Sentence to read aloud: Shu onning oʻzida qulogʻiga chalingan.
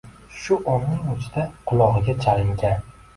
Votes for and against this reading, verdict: 2, 0, accepted